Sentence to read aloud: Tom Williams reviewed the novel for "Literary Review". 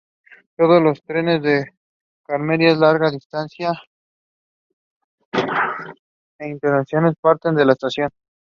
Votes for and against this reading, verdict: 0, 2, rejected